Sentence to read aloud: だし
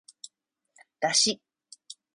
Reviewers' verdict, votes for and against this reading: rejected, 1, 2